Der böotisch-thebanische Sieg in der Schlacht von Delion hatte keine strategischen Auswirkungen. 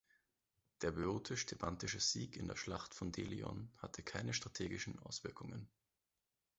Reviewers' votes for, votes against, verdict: 0, 2, rejected